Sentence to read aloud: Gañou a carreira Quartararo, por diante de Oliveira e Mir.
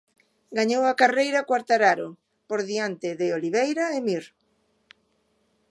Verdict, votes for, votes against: accepted, 2, 0